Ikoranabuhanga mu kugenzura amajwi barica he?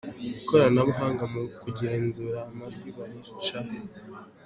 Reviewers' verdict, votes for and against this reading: accepted, 2, 1